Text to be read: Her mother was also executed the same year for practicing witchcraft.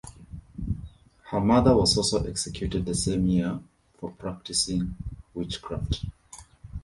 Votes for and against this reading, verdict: 2, 0, accepted